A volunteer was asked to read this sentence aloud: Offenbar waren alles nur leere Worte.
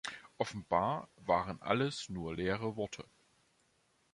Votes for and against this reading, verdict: 2, 1, accepted